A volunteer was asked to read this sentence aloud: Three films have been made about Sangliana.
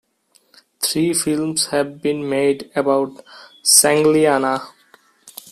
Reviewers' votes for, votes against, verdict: 2, 0, accepted